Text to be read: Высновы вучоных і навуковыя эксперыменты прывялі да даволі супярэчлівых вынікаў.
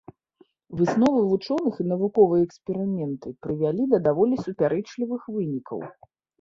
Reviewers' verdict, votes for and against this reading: accepted, 2, 0